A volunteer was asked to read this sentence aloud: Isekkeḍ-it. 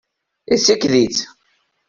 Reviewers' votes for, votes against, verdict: 1, 2, rejected